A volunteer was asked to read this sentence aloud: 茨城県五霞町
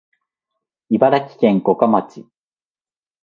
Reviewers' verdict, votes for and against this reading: accepted, 2, 0